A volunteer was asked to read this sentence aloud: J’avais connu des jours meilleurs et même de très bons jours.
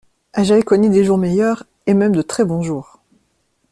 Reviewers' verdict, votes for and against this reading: accepted, 2, 0